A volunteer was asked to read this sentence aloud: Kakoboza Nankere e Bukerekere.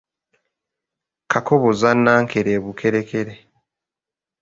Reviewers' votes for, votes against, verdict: 2, 0, accepted